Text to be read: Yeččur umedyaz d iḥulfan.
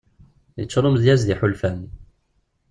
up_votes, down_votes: 2, 0